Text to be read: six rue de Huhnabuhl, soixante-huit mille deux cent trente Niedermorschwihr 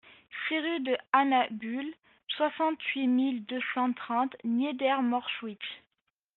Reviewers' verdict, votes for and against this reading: rejected, 0, 2